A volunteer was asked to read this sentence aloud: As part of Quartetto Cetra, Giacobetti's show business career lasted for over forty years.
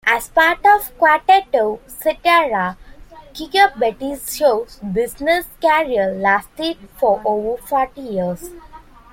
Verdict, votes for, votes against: rejected, 0, 2